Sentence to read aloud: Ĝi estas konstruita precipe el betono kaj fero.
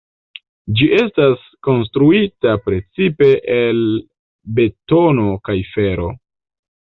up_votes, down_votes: 2, 1